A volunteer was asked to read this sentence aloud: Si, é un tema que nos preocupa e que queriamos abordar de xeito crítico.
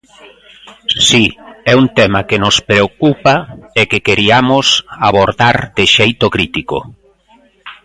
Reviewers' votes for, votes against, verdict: 1, 2, rejected